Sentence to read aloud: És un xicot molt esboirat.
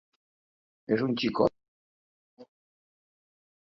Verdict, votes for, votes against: rejected, 0, 2